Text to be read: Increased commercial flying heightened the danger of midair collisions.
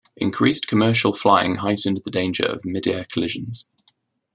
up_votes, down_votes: 2, 0